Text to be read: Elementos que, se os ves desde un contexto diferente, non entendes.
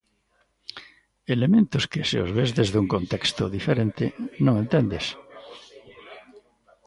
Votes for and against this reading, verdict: 1, 2, rejected